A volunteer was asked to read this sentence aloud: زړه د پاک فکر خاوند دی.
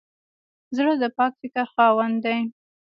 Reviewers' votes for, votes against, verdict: 0, 2, rejected